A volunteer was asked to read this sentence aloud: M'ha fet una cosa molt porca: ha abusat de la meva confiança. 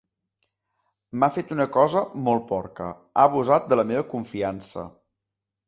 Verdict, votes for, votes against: accepted, 2, 0